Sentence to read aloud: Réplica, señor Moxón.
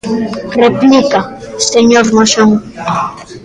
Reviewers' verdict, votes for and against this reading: rejected, 0, 2